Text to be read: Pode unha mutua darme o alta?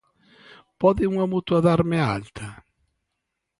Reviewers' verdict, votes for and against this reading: rejected, 1, 2